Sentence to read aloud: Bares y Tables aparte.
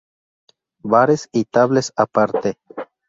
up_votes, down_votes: 0, 2